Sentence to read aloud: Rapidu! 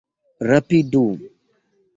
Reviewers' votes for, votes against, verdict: 2, 1, accepted